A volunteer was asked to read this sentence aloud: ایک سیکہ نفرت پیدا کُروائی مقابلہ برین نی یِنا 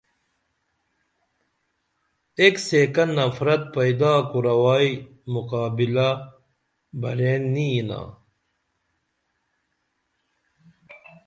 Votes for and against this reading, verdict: 2, 0, accepted